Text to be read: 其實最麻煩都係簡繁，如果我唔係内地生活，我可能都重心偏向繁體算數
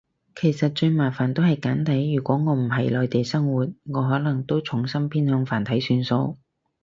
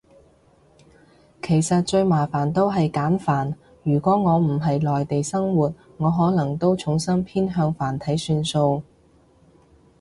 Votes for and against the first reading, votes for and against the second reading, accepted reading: 0, 4, 2, 0, second